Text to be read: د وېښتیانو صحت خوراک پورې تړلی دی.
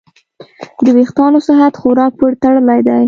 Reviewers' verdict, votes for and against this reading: accepted, 2, 0